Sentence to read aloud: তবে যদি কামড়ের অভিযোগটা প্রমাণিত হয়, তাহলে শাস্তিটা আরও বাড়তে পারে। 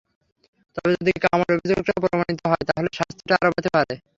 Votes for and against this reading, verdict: 0, 3, rejected